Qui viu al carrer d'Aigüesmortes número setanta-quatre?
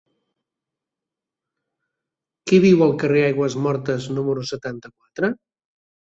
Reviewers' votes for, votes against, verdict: 1, 3, rejected